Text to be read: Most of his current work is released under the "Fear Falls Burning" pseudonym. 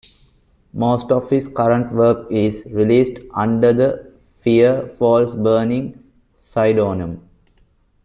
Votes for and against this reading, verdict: 0, 2, rejected